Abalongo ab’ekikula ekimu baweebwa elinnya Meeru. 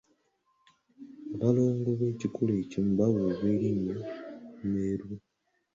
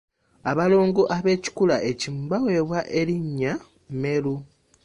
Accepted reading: second